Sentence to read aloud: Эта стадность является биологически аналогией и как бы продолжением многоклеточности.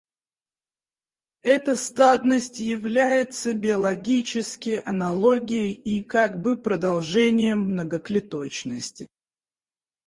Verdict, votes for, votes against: rejected, 2, 4